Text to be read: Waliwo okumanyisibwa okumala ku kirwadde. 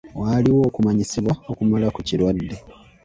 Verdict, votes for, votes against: accepted, 2, 0